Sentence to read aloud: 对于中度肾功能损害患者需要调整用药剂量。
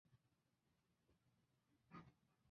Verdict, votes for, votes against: rejected, 0, 3